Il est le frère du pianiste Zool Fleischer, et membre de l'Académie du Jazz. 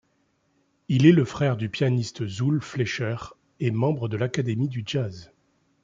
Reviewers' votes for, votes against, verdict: 2, 0, accepted